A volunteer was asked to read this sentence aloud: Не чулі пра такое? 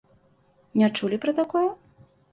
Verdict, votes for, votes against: accepted, 2, 0